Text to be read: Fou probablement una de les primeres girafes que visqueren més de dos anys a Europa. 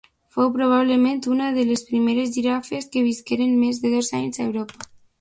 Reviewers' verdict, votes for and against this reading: accepted, 3, 1